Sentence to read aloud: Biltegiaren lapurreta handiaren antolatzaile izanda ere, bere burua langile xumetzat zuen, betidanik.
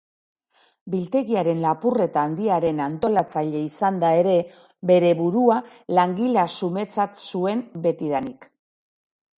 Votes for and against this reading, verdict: 0, 2, rejected